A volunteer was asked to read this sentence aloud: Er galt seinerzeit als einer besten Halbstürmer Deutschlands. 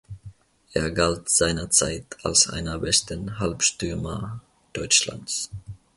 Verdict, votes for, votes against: accepted, 2, 0